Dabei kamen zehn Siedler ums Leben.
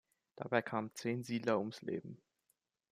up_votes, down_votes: 2, 0